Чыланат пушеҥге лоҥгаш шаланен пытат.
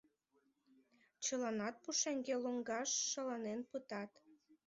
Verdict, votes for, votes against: accepted, 2, 1